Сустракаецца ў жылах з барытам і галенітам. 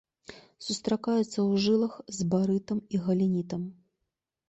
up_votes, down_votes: 2, 0